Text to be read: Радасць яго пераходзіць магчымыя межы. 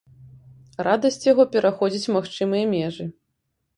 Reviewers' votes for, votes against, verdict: 2, 0, accepted